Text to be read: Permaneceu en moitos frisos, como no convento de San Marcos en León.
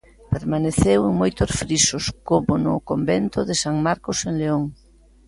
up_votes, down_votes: 2, 0